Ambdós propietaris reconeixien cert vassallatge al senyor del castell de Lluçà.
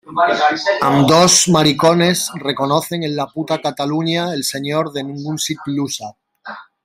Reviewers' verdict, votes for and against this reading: rejected, 0, 2